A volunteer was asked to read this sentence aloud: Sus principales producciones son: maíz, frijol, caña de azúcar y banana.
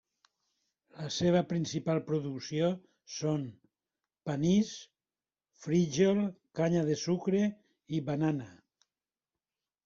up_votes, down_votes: 0, 2